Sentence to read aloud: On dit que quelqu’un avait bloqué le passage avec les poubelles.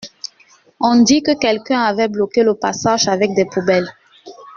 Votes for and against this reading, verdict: 1, 2, rejected